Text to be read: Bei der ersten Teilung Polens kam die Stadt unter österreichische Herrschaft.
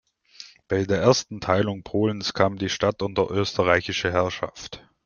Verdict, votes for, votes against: accepted, 2, 0